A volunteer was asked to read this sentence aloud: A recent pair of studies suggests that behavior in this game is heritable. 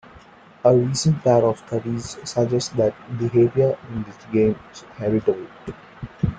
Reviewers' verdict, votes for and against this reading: rejected, 0, 2